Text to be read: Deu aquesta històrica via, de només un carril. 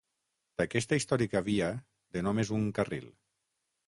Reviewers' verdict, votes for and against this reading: rejected, 0, 6